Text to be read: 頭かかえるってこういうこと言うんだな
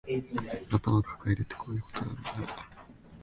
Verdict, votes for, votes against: rejected, 0, 2